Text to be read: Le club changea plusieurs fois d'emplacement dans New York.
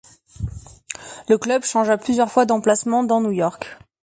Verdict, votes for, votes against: accepted, 2, 0